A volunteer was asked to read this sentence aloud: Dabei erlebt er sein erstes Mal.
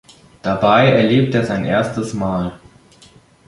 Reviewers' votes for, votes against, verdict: 1, 2, rejected